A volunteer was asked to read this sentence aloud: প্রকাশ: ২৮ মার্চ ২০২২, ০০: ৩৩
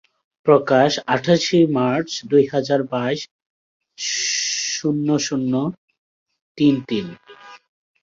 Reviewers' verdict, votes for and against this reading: rejected, 0, 2